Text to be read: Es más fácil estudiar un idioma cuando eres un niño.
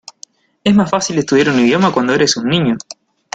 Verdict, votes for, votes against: accepted, 2, 0